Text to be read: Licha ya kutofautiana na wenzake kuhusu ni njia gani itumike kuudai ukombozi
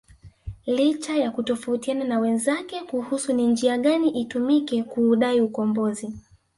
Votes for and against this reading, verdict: 0, 2, rejected